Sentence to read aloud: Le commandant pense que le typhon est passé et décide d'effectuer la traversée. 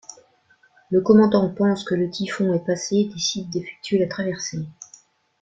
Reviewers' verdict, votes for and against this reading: accepted, 2, 0